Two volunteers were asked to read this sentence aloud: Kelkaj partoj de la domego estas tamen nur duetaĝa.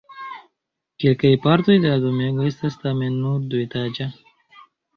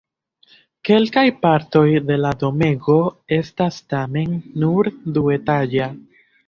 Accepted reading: first